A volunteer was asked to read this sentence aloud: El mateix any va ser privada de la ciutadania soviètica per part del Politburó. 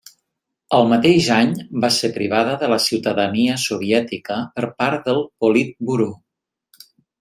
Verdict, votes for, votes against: accepted, 2, 0